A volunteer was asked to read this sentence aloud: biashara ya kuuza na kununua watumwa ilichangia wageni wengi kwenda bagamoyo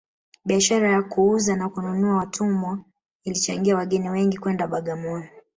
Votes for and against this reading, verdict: 2, 0, accepted